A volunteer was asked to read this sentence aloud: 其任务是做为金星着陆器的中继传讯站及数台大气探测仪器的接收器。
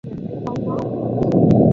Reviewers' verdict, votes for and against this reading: rejected, 0, 3